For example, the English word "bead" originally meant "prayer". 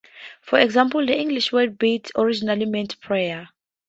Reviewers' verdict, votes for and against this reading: rejected, 0, 2